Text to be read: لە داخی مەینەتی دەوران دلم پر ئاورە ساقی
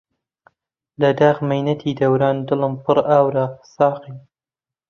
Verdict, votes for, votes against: rejected, 0, 2